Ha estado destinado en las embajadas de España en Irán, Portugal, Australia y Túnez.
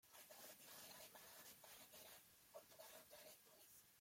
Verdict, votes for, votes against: rejected, 0, 2